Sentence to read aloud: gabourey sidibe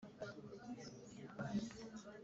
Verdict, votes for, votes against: rejected, 2, 3